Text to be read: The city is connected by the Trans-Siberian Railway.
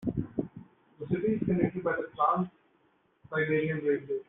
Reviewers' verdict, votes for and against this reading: rejected, 1, 2